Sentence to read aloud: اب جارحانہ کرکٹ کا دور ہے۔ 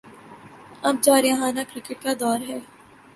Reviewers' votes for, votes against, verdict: 15, 0, accepted